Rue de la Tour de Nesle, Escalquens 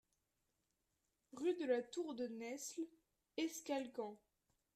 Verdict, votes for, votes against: accepted, 2, 0